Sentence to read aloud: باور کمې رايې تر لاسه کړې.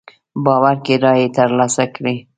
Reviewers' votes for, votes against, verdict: 0, 2, rejected